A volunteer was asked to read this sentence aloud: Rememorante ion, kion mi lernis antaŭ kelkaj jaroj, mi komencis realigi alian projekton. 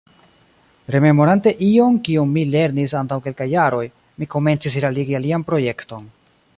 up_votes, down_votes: 2, 1